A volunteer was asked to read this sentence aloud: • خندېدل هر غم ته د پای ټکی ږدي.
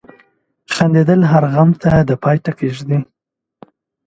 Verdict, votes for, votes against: accepted, 2, 1